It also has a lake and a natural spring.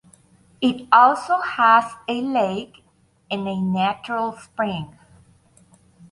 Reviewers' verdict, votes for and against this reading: accepted, 2, 0